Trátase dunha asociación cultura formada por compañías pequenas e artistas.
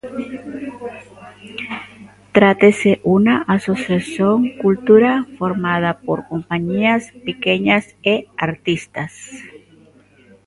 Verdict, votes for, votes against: rejected, 0, 2